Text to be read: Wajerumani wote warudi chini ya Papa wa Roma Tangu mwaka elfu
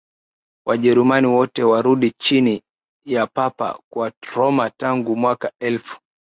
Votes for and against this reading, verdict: 2, 0, accepted